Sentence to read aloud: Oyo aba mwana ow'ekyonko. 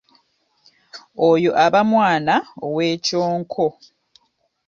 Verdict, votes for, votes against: accepted, 2, 0